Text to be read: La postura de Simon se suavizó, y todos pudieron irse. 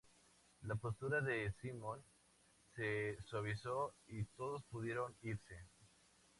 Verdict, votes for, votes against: rejected, 2, 2